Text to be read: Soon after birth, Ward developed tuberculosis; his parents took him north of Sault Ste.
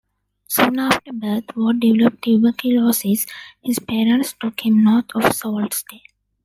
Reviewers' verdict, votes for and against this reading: accepted, 2, 0